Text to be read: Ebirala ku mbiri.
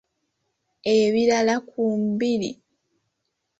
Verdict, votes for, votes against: accepted, 2, 0